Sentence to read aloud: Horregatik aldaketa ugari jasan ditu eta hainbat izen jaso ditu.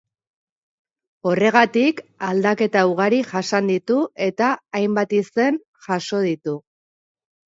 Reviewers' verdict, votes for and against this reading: accepted, 3, 0